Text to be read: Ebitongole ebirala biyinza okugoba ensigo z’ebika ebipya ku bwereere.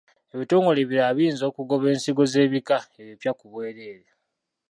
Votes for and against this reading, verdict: 1, 2, rejected